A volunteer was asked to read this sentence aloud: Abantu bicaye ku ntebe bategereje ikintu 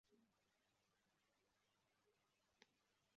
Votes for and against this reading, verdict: 0, 2, rejected